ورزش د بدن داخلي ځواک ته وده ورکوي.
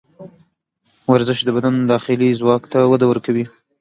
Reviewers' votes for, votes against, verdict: 2, 0, accepted